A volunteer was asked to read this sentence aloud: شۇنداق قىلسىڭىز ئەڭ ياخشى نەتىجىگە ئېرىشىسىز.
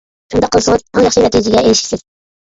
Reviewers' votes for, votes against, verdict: 0, 2, rejected